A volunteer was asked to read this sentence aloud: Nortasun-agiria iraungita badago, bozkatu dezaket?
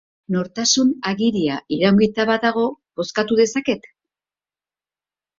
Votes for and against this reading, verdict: 2, 0, accepted